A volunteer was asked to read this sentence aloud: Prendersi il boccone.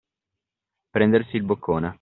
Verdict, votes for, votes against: accepted, 2, 0